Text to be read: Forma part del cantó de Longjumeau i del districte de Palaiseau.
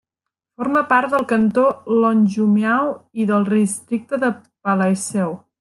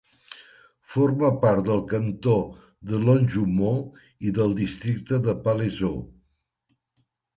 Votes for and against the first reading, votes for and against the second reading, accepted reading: 0, 2, 2, 0, second